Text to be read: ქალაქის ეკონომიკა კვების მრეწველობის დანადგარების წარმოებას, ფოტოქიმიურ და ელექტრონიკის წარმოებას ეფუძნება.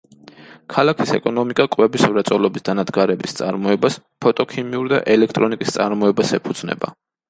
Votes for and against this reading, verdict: 2, 0, accepted